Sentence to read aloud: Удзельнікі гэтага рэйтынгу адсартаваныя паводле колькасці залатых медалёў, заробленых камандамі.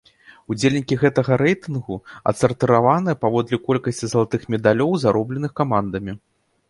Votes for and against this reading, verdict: 1, 2, rejected